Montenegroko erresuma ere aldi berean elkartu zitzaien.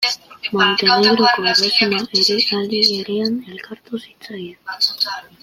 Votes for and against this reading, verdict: 0, 2, rejected